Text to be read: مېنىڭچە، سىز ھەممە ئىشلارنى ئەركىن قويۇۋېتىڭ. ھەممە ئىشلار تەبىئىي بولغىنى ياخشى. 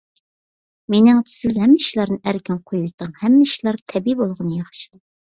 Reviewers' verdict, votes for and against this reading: accepted, 2, 0